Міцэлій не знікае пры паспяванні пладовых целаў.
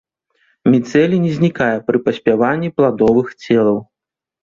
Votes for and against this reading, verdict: 2, 0, accepted